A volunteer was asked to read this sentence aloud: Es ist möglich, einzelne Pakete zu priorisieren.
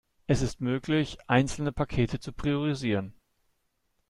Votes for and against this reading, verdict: 2, 0, accepted